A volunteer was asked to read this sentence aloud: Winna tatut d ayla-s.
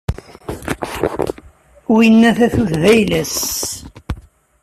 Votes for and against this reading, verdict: 2, 0, accepted